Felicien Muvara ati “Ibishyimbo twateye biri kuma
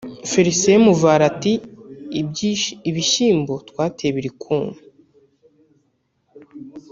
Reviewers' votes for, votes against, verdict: 0, 2, rejected